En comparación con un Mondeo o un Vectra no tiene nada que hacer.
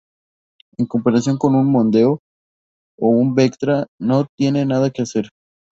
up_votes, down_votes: 2, 0